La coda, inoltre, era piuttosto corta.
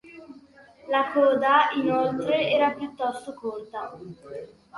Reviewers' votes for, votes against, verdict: 2, 1, accepted